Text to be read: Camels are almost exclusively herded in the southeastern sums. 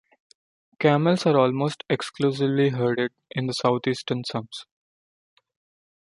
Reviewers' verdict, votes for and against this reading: accepted, 2, 0